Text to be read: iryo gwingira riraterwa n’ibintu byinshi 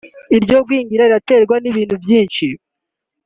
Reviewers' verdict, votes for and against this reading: accepted, 3, 0